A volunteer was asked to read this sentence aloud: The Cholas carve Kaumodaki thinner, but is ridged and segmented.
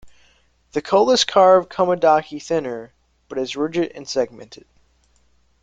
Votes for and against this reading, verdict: 0, 2, rejected